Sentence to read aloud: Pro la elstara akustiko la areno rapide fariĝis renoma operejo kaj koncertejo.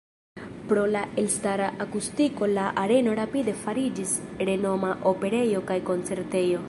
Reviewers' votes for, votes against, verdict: 0, 2, rejected